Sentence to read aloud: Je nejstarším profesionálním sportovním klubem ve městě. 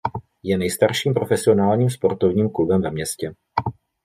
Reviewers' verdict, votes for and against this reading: accepted, 2, 0